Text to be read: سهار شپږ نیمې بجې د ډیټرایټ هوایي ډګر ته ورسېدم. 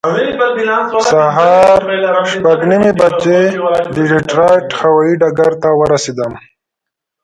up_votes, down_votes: 1, 2